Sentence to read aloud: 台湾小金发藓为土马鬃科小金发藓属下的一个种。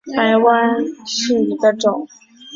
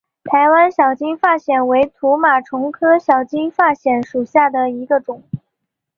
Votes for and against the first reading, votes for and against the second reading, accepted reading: 0, 2, 2, 0, second